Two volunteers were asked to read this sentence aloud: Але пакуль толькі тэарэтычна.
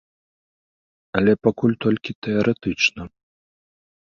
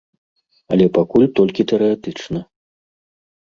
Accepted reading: first